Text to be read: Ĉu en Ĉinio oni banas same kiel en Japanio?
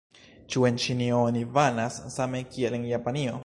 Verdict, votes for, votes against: accepted, 2, 0